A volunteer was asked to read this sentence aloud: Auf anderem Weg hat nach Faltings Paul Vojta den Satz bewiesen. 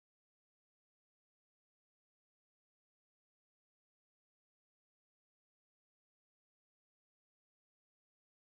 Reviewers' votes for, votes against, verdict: 0, 2, rejected